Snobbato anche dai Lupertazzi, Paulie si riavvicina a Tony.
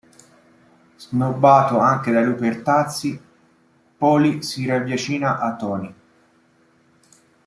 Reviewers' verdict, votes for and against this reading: accepted, 2, 0